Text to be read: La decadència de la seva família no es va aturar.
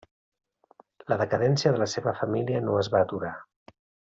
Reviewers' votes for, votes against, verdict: 3, 0, accepted